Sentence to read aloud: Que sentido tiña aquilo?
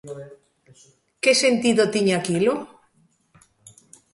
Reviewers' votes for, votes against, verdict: 1, 2, rejected